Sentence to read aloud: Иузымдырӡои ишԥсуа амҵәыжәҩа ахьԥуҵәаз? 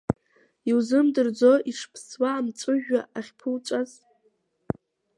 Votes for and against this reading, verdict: 2, 1, accepted